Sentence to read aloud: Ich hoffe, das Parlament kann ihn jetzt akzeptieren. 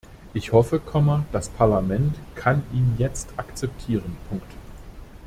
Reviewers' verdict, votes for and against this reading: rejected, 0, 2